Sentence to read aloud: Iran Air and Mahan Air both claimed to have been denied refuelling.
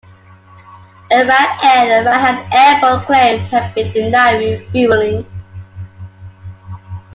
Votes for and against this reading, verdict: 2, 1, accepted